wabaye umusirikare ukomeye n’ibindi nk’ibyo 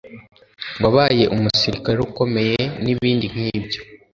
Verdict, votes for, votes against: accepted, 2, 0